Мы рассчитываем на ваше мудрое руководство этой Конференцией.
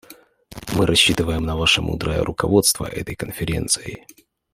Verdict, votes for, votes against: accepted, 2, 0